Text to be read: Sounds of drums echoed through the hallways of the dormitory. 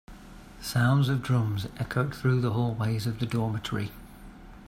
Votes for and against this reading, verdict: 2, 0, accepted